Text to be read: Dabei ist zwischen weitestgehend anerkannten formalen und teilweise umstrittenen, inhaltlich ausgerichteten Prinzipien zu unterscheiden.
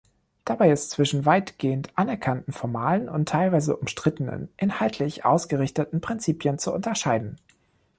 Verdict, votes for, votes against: rejected, 1, 2